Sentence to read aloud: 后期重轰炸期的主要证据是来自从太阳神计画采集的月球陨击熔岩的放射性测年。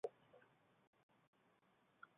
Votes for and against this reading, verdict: 0, 2, rejected